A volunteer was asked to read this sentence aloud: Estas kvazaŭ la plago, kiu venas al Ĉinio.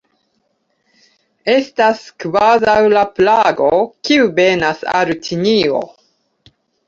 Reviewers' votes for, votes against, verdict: 2, 0, accepted